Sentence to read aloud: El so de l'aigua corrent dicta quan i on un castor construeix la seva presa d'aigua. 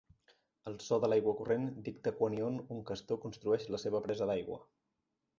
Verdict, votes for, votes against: accepted, 2, 0